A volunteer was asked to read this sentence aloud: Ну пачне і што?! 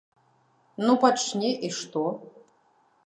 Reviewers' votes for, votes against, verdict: 2, 0, accepted